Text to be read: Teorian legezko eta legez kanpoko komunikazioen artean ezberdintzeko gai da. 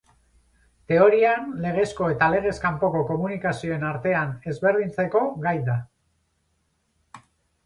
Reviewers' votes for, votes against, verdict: 14, 0, accepted